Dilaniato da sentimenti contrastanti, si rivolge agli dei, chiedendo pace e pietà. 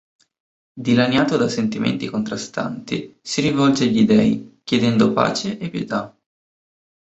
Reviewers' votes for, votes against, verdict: 3, 0, accepted